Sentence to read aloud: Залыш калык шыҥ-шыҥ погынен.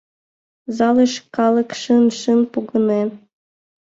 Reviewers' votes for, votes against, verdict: 2, 0, accepted